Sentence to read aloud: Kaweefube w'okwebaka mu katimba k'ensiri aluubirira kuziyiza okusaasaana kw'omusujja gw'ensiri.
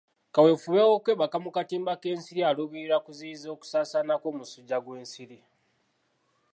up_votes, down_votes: 2, 0